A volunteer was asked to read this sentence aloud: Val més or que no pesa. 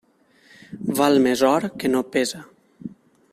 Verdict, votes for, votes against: accepted, 3, 0